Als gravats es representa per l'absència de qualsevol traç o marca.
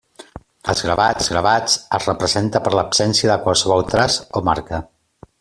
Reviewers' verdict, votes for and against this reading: rejected, 0, 2